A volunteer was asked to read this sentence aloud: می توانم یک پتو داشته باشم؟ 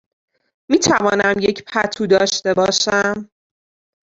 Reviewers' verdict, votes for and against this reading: rejected, 1, 2